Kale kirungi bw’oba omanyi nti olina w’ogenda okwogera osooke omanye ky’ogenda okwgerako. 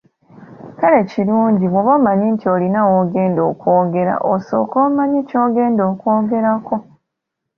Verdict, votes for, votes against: accepted, 2, 0